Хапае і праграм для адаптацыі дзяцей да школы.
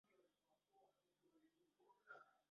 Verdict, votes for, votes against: rejected, 0, 2